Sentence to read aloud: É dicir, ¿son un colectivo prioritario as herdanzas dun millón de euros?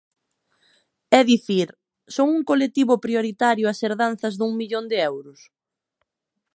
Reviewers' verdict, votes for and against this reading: rejected, 0, 2